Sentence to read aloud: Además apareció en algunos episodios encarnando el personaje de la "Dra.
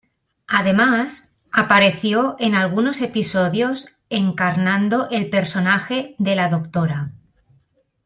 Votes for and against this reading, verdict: 2, 0, accepted